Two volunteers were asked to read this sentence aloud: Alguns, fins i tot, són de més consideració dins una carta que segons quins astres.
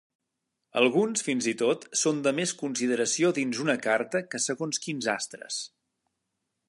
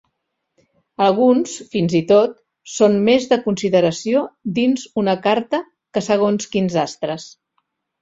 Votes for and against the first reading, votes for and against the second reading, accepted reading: 3, 0, 1, 2, first